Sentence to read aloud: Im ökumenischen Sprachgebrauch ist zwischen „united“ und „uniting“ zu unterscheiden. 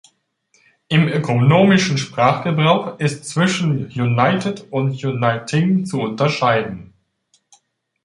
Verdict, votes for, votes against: rejected, 1, 2